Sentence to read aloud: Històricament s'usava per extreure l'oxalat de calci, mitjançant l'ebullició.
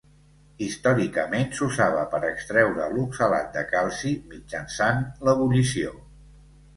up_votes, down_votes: 2, 1